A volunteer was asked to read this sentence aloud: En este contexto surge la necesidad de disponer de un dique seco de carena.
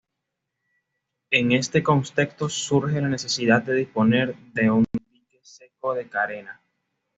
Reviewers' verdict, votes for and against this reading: accepted, 2, 1